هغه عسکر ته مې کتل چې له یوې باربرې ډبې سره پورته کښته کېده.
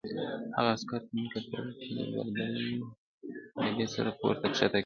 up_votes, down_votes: 0, 2